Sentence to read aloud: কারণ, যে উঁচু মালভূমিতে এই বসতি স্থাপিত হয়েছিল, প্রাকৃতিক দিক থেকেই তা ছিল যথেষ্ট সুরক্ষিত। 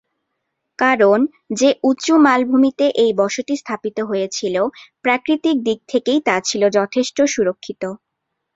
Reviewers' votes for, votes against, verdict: 2, 0, accepted